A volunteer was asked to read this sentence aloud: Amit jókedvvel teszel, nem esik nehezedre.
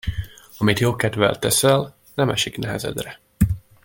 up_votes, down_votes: 2, 0